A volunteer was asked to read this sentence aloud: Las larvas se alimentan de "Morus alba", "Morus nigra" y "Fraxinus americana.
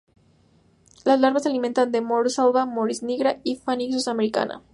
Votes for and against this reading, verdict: 0, 2, rejected